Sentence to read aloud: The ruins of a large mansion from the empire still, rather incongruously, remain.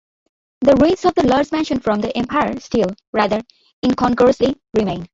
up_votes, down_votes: 0, 2